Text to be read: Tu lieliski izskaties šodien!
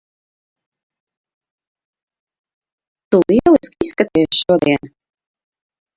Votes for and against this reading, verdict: 0, 2, rejected